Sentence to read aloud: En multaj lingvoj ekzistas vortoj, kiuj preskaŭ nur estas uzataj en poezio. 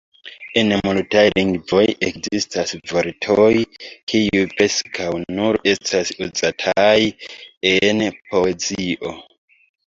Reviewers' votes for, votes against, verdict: 0, 2, rejected